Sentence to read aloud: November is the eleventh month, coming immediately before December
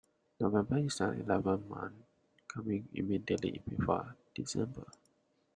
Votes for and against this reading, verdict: 2, 1, accepted